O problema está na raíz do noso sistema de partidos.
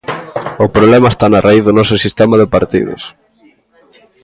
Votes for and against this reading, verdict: 2, 1, accepted